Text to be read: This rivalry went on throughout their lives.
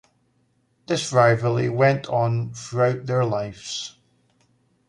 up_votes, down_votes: 1, 2